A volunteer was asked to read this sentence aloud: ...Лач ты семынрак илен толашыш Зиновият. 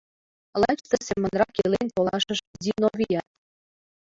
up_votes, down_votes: 1, 2